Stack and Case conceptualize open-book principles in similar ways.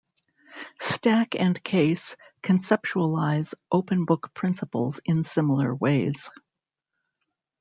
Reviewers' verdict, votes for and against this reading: accepted, 2, 0